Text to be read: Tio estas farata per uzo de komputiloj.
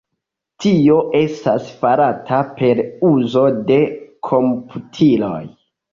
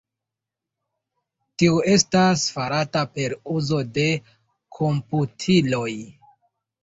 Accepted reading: second